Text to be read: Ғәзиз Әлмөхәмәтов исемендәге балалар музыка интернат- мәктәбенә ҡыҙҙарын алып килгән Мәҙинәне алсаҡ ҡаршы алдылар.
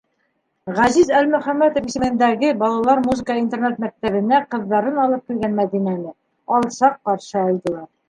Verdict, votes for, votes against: rejected, 0, 2